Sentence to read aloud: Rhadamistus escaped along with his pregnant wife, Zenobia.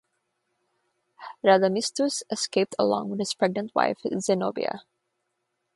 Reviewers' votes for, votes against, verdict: 0, 3, rejected